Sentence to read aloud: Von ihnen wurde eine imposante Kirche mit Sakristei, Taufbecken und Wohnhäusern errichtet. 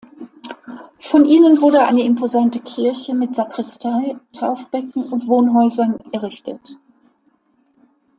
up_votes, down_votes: 2, 0